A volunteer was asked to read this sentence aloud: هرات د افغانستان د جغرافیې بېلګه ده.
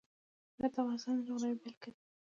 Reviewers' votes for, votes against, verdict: 1, 2, rejected